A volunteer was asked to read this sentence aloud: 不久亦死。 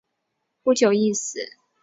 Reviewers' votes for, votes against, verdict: 3, 0, accepted